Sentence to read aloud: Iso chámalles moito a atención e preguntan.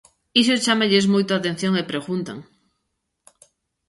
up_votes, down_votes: 2, 0